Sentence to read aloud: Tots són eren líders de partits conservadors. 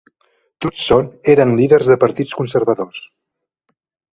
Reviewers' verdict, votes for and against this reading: accepted, 2, 0